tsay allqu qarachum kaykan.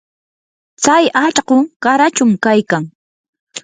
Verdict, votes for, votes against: accepted, 4, 0